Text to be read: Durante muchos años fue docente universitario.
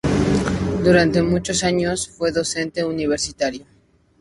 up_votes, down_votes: 2, 0